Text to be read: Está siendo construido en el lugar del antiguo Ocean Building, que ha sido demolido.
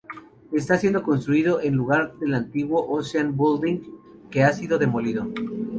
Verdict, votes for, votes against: accepted, 2, 0